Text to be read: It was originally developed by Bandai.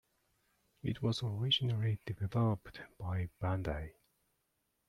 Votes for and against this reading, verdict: 2, 1, accepted